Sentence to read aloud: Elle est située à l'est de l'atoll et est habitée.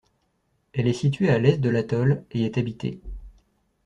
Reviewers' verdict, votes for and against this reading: rejected, 1, 2